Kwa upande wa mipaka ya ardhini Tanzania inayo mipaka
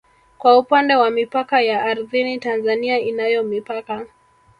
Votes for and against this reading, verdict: 1, 2, rejected